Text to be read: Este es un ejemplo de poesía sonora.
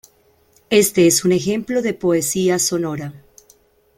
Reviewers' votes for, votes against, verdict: 2, 0, accepted